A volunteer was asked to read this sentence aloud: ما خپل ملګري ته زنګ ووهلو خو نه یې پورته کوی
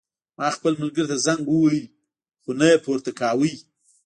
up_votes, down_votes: 1, 2